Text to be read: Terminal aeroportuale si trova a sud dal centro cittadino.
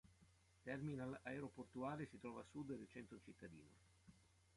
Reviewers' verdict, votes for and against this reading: accepted, 2, 1